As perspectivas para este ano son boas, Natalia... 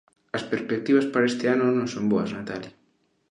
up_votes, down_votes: 1, 2